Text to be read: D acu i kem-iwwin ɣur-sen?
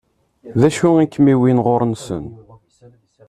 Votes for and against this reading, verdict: 0, 2, rejected